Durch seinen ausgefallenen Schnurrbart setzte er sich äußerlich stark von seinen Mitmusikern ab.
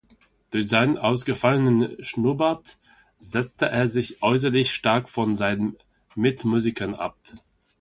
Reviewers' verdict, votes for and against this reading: accepted, 2, 0